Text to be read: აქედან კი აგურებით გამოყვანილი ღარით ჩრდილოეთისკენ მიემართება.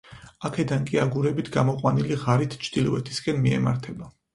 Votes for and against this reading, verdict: 4, 0, accepted